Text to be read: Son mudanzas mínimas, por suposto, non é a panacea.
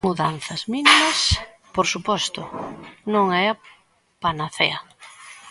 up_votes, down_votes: 0, 2